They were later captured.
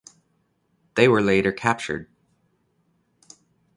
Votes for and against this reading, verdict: 2, 0, accepted